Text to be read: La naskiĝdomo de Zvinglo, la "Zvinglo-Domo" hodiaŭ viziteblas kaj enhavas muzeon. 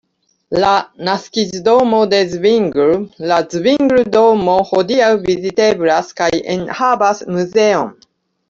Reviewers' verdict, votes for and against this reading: rejected, 1, 2